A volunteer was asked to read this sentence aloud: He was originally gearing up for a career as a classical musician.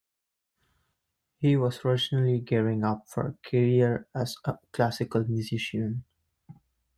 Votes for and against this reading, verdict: 2, 1, accepted